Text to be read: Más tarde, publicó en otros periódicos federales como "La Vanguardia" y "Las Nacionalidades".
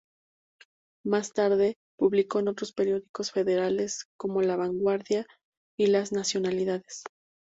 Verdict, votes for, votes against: accepted, 2, 0